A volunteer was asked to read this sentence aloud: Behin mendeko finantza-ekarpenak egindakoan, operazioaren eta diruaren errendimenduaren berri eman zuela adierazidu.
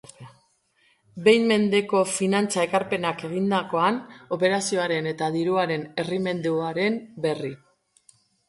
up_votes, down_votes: 1, 2